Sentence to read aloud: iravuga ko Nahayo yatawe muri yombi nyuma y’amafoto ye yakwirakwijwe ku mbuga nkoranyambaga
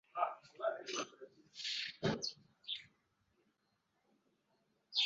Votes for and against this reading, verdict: 0, 2, rejected